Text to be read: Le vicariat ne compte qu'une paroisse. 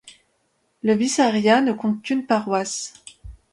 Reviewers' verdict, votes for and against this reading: rejected, 0, 2